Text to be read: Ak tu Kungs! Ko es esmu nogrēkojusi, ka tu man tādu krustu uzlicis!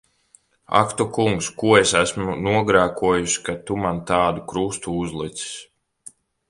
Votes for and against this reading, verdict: 2, 0, accepted